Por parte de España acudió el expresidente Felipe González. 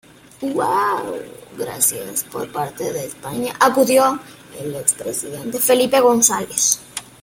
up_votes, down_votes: 2, 1